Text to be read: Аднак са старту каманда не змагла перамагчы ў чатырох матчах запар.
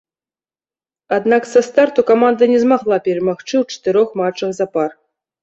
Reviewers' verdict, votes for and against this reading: rejected, 1, 2